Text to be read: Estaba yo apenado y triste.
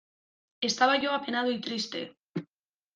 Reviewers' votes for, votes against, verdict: 2, 0, accepted